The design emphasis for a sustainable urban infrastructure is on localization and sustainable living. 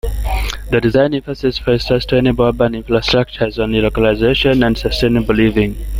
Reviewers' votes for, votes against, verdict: 2, 0, accepted